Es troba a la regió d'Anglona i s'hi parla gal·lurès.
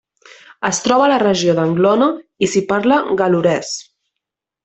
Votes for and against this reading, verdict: 2, 0, accepted